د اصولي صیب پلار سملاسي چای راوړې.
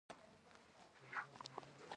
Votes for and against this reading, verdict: 1, 2, rejected